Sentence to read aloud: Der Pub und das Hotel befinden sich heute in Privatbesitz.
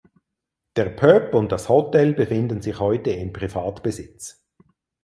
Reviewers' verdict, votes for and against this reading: rejected, 2, 4